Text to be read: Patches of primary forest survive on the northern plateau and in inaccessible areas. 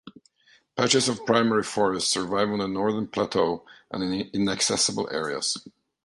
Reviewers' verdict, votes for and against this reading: rejected, 1, 2